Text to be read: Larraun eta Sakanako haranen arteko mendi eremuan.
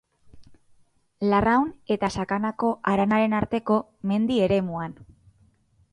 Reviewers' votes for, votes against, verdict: 0, 2, rejected